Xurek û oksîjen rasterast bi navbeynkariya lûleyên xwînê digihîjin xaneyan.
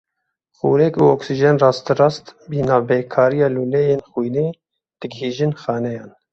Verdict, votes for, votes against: rejected, 0, 2